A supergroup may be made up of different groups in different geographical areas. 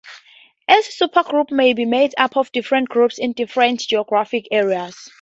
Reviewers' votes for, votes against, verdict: 0, 2, rejected